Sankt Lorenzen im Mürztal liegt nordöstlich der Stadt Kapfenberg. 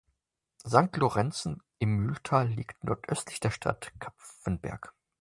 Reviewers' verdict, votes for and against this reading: rejected, 0, 2